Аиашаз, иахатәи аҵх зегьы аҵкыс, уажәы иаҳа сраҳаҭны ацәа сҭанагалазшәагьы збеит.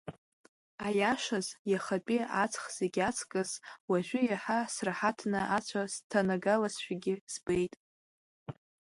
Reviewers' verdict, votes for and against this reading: accepted, 2, 0